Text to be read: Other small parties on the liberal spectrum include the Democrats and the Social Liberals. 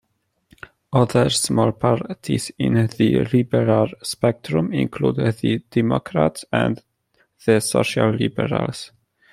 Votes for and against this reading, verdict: 1, 2, rejected